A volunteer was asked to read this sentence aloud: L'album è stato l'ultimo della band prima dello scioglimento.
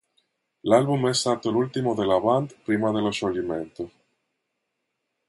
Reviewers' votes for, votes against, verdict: 2, 1, accepted